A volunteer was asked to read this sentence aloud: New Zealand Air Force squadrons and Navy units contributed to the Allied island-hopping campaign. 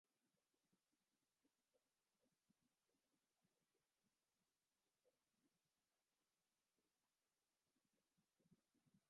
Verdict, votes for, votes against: rejected, 0, 2